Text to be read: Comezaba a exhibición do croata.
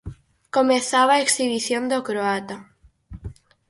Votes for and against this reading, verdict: 4, 0, accepted